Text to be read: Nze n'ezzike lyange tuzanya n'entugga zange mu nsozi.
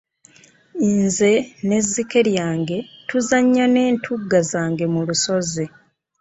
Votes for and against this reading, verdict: 1, 2, rejected